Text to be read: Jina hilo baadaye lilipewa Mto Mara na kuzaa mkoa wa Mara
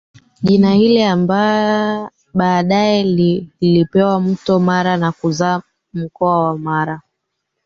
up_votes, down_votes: 0, 3